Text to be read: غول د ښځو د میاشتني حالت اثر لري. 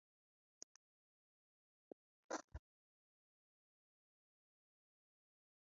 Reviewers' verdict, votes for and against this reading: rejected, 0, 2